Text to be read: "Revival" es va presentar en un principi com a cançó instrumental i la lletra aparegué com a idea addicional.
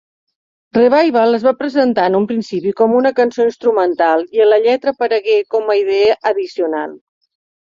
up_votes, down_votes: 4, 5